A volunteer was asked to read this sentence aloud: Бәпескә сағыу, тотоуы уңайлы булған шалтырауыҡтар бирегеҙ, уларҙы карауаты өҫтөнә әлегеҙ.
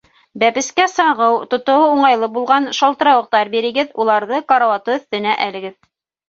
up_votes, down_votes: 3, 0